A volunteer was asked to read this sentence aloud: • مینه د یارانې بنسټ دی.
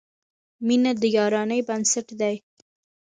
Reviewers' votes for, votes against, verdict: 2, 0, accepted